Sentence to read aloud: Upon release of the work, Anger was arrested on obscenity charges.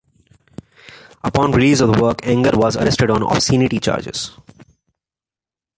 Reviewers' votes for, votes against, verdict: 2, 0, accepted